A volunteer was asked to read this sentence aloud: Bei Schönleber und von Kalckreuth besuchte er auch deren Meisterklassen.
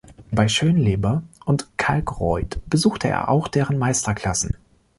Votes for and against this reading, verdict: 3, 2, accepted